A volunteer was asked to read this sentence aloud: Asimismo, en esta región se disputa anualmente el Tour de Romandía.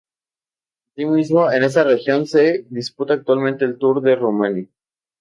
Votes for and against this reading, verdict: 0, 2, rejected